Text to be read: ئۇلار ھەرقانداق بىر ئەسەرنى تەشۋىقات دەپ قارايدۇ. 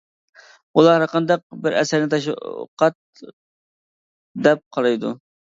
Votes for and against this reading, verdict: 1, 2, rejected